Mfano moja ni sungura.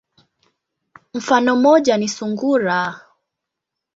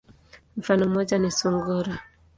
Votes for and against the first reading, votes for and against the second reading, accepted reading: 1, 2, 2, 0, second